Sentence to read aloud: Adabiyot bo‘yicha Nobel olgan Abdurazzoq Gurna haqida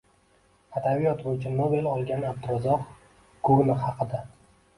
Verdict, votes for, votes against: accepted, 2, 1